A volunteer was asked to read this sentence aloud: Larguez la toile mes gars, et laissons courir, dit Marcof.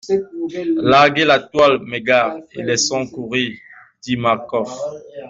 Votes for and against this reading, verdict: 0, 2, rejected